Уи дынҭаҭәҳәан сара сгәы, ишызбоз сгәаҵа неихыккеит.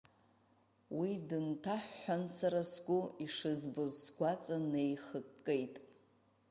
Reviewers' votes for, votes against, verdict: 1, 2, rejected